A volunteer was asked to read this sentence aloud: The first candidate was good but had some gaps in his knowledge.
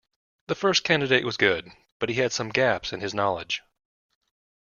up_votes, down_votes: 0, 2